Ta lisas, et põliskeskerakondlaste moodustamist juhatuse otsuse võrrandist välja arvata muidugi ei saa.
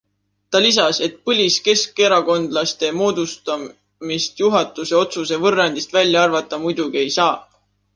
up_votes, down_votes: 1, 2